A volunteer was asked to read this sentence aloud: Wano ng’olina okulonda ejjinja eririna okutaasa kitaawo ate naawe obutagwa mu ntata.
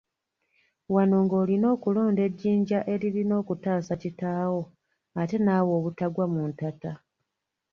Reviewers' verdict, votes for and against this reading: rejected, 1, 2